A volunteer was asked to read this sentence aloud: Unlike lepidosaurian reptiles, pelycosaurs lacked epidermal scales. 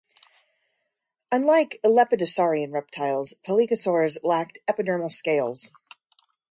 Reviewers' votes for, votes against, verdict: 2, 0, accepted